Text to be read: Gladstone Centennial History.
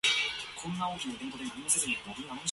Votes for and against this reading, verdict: 0, 2, rejected